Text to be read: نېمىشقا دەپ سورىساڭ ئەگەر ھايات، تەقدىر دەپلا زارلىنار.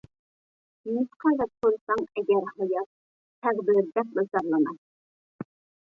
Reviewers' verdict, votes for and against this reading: rejected, 1, 2